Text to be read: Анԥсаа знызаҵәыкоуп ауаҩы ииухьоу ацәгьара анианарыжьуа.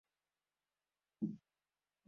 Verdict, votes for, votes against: rejected, 0, 2